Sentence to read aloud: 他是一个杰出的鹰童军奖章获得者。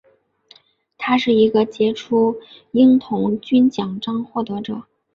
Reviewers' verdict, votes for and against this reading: accepted, 2, 0